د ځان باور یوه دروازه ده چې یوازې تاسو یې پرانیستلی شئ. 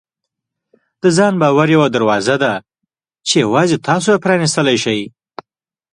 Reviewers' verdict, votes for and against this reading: accepted, 2, 0